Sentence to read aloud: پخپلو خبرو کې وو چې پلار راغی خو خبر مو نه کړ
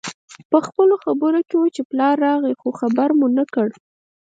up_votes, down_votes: 4, 2